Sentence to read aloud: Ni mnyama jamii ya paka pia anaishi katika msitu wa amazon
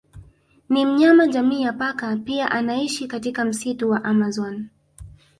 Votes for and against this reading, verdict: 0, 3, rejected